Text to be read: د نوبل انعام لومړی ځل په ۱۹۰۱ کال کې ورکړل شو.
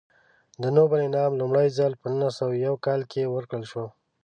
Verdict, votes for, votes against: rejected, 0, 2